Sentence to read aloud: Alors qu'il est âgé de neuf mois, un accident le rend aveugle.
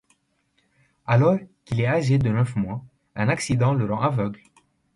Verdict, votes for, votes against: accepted, 2, 1